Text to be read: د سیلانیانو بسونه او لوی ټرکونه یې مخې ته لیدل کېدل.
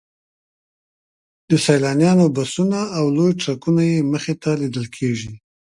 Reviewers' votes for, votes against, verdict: 2, 3, rejected